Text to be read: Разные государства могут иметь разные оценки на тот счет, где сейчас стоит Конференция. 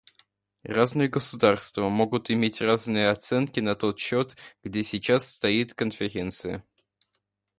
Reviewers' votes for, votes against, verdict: 1, 2, rejected